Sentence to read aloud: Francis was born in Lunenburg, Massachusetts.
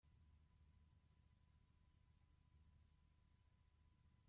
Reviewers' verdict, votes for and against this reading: rejected, 0, 2